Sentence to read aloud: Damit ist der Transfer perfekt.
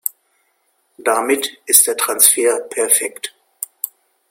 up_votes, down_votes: 0, 2